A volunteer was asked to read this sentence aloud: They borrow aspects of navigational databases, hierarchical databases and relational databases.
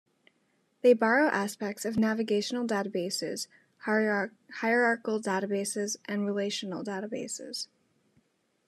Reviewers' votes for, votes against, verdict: 0, 2, rejected